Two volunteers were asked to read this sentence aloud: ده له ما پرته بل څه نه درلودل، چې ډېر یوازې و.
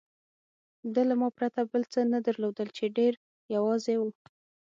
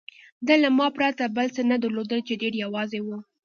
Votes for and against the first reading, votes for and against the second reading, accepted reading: 6, 0, 1, 2, first